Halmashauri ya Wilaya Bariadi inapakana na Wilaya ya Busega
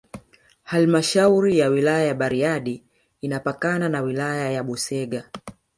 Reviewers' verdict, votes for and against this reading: rejected, 1, 2